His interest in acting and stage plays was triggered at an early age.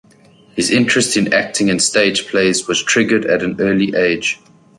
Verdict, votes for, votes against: accepted, 4, 0